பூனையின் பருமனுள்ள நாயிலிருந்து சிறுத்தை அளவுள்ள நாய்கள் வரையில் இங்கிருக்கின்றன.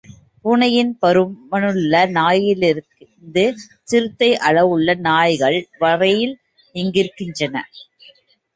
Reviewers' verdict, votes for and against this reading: rejected, 1, 2